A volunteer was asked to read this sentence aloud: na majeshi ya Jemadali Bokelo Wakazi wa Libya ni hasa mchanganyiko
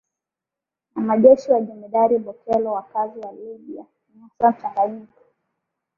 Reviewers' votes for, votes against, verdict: 0, 2, rejected